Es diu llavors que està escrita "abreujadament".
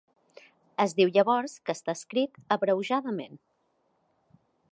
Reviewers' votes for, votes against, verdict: 1, 2, rejected